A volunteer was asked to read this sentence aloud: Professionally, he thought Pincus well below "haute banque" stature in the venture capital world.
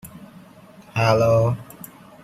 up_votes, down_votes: 0, 2